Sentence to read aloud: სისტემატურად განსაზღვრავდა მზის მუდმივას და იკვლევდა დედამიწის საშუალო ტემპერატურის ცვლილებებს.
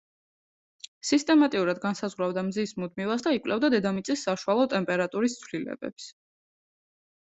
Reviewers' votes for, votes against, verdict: 0, 2, rejected